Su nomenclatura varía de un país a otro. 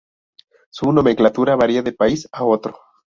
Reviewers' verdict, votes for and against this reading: rejected, 0, 2